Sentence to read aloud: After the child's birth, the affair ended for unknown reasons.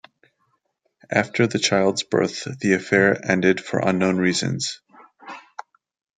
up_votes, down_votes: 2, 1